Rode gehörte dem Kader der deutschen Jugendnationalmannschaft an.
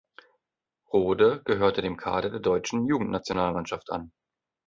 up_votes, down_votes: 2, 0